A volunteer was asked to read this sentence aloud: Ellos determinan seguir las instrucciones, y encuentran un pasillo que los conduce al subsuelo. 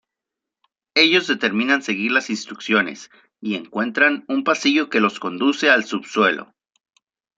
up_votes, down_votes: 2, 0